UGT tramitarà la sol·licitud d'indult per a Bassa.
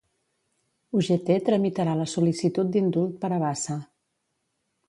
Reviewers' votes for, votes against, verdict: 1, 2, rejected